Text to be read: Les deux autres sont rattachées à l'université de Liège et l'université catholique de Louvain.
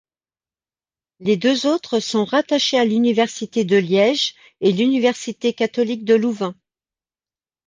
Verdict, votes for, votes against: accepted, 2, 0